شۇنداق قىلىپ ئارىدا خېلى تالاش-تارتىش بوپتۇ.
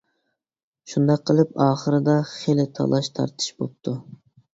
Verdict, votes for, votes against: rejected, 1, 2